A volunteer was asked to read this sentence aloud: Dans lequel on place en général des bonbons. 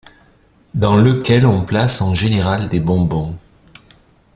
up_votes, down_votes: 2, 0